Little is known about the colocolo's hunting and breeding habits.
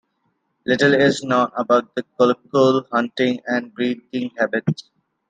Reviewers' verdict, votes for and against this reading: rejected, 1, 2